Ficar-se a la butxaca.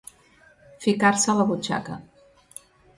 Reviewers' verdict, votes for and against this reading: accepted, 3, 0